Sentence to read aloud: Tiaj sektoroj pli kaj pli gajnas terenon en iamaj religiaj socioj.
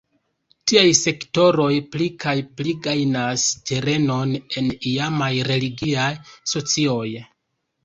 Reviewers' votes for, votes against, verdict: 0, 2, rejected